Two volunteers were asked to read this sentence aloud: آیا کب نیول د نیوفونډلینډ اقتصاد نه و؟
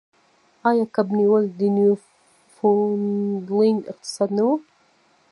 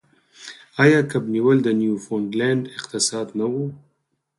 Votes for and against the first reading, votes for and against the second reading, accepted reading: 0, 2, 4, 0, second